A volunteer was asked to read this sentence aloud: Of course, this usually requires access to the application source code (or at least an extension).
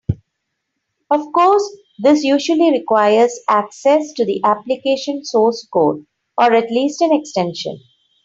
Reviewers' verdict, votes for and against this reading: accepted, 3, 0